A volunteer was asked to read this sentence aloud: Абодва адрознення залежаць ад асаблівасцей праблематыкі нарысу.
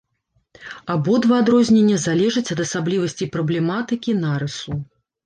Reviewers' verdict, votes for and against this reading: accepted, 2, 0